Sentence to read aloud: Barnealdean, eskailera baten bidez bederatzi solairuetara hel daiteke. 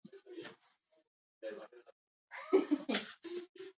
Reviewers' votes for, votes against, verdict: 0, 2, rejected